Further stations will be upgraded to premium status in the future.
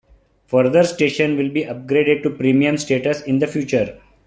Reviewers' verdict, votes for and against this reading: accepted, 2, 0